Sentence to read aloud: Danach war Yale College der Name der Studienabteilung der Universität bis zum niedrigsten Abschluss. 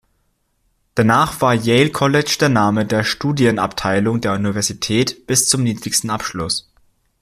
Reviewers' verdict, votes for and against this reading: accepted, 2, 0